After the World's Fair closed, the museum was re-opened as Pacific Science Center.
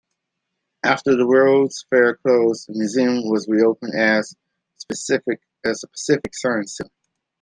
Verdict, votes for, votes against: rejected, 0, 2